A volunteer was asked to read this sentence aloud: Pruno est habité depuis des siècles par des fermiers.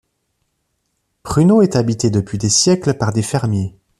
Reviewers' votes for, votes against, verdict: 2, 0, accepted